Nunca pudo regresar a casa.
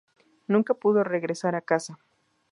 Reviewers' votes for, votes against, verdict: 2, 0, accepted